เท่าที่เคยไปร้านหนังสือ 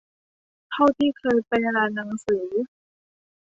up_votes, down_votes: 2, 0